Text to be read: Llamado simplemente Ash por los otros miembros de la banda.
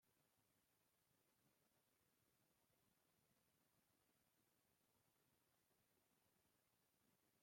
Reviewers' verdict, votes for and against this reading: rejected, 0, 2